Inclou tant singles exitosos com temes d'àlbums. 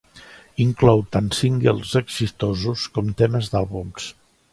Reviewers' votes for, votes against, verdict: 2, 1, accepted